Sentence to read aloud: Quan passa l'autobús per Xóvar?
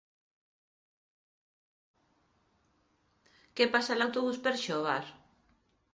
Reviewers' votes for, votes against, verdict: 0, 2, rejected